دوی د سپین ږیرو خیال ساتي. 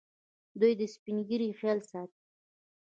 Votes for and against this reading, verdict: 0, 2, rejected